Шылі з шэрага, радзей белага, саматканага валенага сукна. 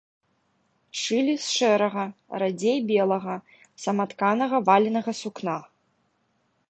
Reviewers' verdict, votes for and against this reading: accepted, 2, 0